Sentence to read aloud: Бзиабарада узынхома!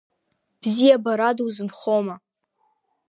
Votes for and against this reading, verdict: 2, 0, accepted